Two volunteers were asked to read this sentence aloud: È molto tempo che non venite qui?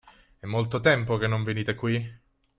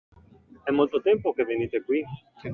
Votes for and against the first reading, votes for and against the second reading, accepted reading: 2, 0, 0, 2, first